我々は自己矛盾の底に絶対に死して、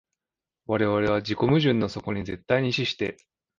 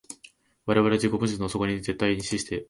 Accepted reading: first